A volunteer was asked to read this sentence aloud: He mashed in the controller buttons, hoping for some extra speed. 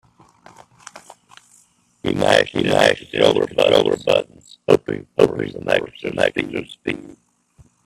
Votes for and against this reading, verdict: 0, 3, rejected